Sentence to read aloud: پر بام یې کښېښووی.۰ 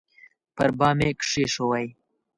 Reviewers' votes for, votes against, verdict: 0, 2, rejected